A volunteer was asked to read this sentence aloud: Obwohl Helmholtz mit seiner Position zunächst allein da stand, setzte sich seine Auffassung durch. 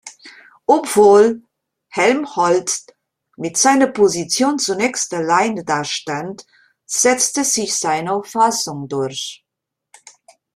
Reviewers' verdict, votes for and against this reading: rejected, 0, 2